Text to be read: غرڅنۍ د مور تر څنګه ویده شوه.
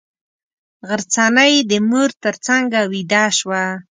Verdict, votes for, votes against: accepted, 2, 0